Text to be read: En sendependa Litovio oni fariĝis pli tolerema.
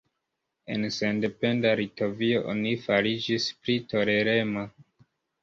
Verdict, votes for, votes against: rejected, 0, 2